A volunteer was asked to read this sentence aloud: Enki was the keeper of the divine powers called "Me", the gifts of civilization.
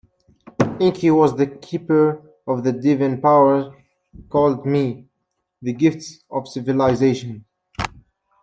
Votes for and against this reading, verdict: 1, 2, rejected